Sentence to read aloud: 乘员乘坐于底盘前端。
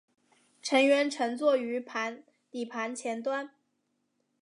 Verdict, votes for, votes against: rejected, 1, 3